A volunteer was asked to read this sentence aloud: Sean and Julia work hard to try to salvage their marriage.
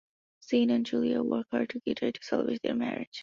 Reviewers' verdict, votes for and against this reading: rejected, 0, 2